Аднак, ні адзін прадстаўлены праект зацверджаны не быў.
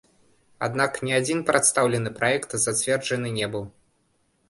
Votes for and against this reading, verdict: 0, 2, rejected